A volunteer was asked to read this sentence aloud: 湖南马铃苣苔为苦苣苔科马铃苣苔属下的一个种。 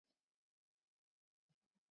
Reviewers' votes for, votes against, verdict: 0, 3, rejected